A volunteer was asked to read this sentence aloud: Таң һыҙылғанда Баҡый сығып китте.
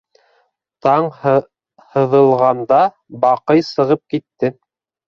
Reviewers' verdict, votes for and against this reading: rejected, 0, 3